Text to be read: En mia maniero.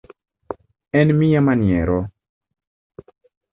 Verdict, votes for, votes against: accepted, 2, 0